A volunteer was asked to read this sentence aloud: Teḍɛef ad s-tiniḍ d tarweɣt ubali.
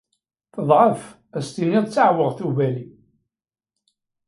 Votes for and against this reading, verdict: 1, 2, rejected